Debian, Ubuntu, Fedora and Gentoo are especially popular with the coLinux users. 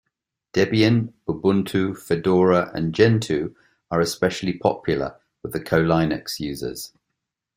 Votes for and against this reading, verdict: 2, 0, accepted